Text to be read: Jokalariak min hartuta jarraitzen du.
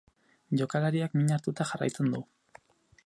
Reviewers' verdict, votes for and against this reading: accepted, 4, 0